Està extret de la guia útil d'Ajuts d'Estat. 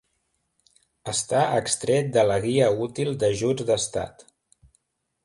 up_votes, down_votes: 2, 0